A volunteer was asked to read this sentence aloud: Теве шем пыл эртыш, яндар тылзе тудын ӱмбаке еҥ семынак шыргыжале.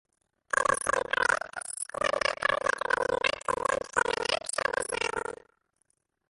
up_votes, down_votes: 0, 2